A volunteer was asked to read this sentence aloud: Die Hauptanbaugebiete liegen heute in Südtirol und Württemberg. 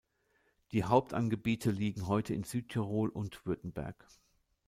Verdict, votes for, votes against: rejected, 0, 2